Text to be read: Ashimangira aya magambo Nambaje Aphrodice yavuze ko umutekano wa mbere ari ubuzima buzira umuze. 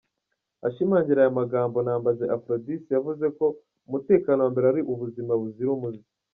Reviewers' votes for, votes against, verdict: 2, 0, accepted